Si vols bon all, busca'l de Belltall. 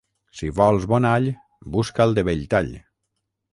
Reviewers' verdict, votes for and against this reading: accepted, 6, 0